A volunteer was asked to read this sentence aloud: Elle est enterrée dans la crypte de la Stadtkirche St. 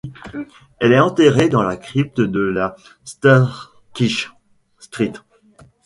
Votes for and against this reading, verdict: 0, 2, rejected